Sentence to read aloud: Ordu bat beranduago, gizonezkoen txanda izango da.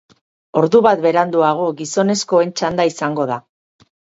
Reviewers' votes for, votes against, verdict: 4, 0, accepted